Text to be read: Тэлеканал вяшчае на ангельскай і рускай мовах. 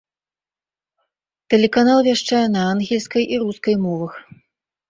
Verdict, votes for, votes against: rejected, 1, 2